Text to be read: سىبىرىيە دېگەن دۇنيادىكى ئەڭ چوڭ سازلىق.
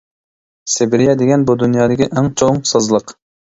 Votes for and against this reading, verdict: 0, 2, rejected